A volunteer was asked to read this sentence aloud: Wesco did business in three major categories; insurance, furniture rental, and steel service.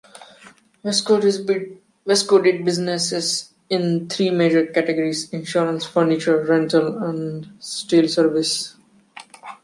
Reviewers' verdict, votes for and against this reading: rejected, 0, 2